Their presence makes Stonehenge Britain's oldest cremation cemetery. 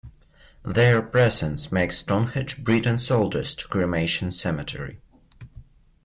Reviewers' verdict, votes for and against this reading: accepted, 2, 0